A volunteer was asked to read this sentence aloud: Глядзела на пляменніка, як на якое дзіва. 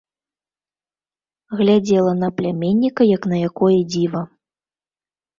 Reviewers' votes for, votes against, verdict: 2, 0, accepted